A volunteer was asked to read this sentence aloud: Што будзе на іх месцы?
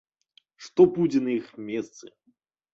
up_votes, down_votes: 2, 0